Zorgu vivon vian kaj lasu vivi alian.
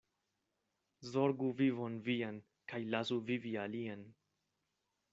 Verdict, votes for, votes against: accepted, 2, 0